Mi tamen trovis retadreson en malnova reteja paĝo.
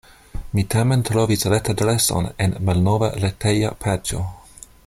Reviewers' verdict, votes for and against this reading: accepted, 2, 0